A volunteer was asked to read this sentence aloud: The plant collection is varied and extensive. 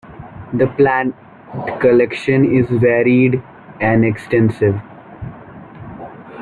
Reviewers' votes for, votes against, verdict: 1, 2, rejected